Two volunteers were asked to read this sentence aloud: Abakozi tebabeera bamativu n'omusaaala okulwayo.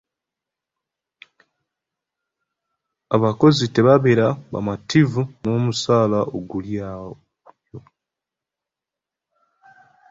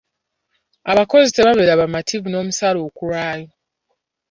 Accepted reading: second